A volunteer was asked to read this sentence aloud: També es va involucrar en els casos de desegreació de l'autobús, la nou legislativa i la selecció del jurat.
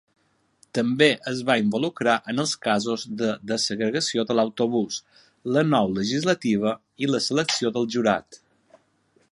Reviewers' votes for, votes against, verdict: 0, 2, rejected